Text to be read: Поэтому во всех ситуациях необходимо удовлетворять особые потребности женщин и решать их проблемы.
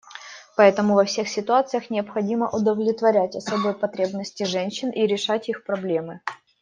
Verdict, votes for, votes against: accepted, 2, 0